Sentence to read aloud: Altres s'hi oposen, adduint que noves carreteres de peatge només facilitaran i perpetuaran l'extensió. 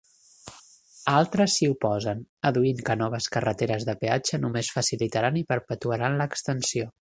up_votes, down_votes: 3, 0